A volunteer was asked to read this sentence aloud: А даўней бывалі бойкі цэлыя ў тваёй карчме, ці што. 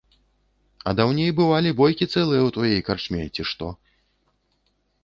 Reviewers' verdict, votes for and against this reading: rejected, 0, 2